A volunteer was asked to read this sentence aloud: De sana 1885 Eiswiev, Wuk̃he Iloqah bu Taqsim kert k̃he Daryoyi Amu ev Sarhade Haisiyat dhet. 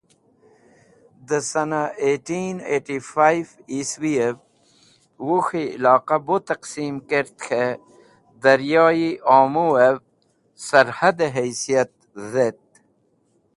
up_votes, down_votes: 0, 2